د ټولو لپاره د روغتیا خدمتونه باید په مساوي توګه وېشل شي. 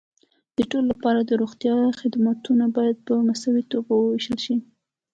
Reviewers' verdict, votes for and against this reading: accepted, 2, 0